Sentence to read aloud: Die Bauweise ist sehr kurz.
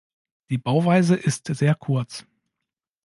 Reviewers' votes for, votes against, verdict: 2, 0, accepted